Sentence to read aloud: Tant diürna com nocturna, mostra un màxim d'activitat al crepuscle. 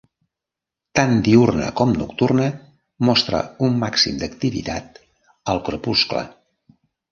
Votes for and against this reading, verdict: 2, 0, accepted